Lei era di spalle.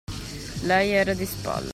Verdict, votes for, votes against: rejected, 0, 2